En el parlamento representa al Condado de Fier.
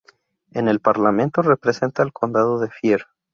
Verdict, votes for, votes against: accepted, 4, 0